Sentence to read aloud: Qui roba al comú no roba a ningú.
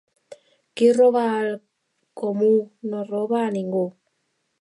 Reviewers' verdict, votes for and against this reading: accepted, 3, 0